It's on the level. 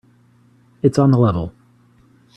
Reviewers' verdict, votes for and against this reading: rejected, 0, 2